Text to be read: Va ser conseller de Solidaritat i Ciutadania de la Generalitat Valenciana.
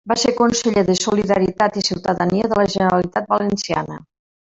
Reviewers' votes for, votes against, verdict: 1, 2, rejected